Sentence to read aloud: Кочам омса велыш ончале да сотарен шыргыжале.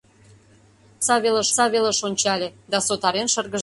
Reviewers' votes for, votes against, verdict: 0, 2, rejected